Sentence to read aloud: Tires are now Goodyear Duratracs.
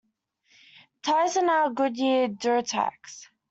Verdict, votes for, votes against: rejected, 0, 2